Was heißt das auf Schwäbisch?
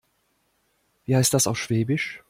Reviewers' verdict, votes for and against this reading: rejected, 1, 2